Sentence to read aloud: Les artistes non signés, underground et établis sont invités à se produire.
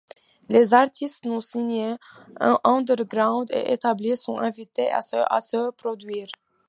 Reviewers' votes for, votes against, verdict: 1, 2, rejected